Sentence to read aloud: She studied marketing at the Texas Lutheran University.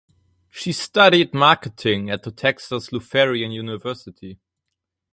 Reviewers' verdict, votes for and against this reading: rejected, 2, 4